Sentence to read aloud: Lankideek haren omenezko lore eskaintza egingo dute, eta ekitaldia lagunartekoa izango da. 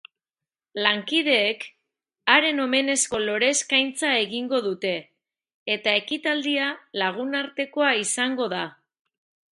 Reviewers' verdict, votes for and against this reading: accepted, 2, 0